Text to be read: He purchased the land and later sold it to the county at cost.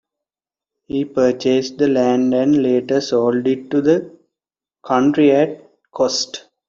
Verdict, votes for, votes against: rejected, 0, 2